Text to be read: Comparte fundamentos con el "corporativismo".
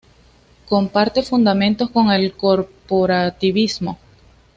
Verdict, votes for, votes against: accepted, 2, 0